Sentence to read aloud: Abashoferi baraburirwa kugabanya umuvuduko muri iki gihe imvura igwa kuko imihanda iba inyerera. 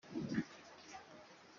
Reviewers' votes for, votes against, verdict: 0, 2, rejected